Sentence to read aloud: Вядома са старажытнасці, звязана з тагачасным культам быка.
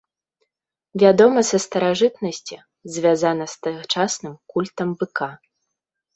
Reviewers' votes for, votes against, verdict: 2, 0, accepted